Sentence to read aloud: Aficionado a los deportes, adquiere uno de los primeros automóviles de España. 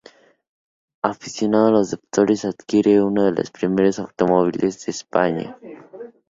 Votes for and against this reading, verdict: 0, 4, rejected